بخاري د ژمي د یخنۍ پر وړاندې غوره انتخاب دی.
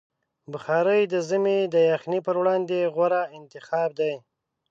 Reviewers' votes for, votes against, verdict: 5, 0, accepted